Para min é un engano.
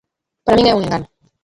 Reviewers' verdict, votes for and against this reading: rejected, 0, 2